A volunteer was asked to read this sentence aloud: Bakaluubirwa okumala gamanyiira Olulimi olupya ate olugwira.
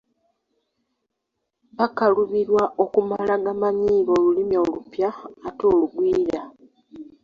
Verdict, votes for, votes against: rejected, 1, 2